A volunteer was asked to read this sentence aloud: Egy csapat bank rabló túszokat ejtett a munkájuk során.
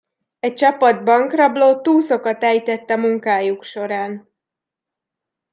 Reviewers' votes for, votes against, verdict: 1, 2, rejected